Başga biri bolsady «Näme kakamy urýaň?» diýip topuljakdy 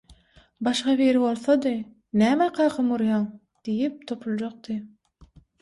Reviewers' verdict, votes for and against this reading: accepted, 6, 0